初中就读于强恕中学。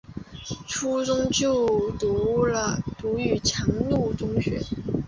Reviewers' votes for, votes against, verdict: 1, 2, rejected